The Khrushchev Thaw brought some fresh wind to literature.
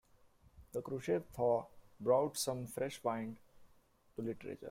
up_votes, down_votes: 0, 2